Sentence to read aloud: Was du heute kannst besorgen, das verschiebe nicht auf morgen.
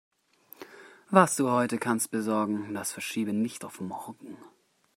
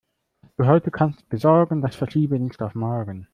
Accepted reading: first